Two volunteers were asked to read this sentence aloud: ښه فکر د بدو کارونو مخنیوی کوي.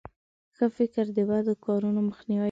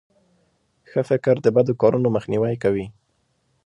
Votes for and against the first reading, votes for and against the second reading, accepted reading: 0, 2, 2, 0, second